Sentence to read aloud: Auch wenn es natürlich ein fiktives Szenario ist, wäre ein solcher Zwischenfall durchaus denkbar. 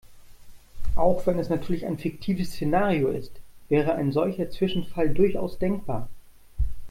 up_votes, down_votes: 2, 0